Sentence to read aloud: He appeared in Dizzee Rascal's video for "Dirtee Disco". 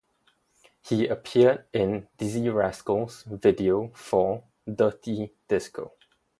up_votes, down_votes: 0, 2